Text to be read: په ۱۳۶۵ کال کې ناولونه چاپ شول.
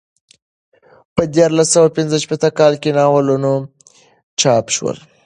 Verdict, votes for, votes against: rejected, 0, 2